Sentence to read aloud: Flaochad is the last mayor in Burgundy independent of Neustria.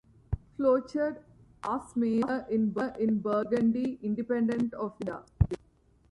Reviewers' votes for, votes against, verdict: 0, 2, rejected